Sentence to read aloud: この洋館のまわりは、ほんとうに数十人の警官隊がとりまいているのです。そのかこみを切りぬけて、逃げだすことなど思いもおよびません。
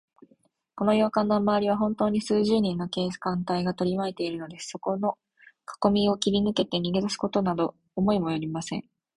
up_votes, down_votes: 2, 0